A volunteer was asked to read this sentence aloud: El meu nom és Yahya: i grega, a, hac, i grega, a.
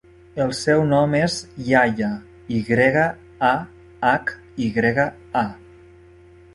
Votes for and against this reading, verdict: 0, 2, rejected